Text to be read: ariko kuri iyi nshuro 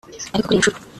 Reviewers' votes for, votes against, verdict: 2, 3, rejected